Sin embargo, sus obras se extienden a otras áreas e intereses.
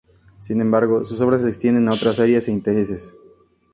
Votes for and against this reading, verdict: 2, 0, accepted